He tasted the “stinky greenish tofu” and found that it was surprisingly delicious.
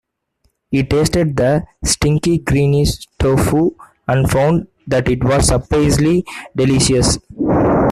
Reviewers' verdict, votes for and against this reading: rejected, 0, 2